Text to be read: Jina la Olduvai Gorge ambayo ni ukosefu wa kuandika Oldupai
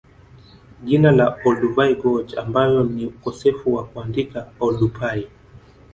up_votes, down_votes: 0, 2